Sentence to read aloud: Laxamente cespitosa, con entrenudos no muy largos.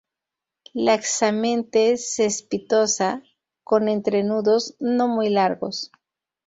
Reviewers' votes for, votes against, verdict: 2, 0, accepted